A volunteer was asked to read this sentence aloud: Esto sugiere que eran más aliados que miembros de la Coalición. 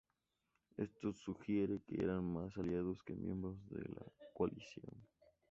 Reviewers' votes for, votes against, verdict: 2, 0, accepted